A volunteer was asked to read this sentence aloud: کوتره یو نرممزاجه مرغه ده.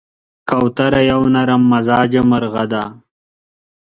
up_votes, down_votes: 2, 0